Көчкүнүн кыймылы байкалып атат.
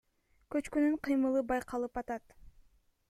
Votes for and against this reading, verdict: 1, 2, rejected